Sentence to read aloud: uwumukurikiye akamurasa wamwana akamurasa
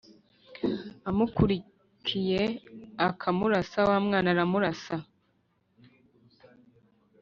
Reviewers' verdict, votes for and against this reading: rejected, 2, 3